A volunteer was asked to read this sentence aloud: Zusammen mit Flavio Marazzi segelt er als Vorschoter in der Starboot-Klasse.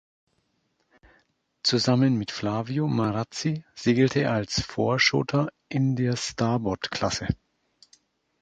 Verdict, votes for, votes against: rejected, 1, 2